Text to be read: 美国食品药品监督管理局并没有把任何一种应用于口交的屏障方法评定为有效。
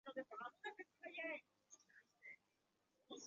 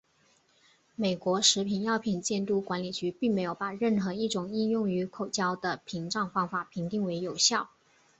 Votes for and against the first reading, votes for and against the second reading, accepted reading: 0, 2, 2, 0, second